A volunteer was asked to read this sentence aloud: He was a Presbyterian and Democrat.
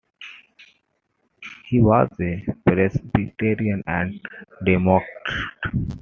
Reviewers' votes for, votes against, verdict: 0, 2, rejected